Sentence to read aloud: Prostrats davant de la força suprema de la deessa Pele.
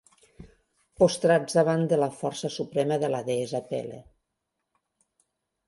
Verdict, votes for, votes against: rejected, 1, 2